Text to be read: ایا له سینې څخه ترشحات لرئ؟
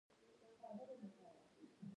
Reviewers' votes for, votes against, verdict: 0, 2, rejected